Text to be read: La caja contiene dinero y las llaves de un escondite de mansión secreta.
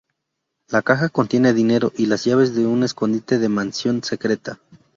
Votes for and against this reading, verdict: 2, 0, accepted